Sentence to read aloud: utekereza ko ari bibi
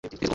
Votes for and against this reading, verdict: 1, 2, rejected